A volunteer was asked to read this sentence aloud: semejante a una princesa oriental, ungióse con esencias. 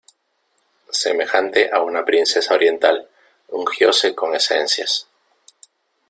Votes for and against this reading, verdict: 2, 0, accepted